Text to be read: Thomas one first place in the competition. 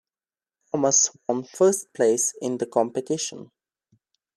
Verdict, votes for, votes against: rejected, 1, 2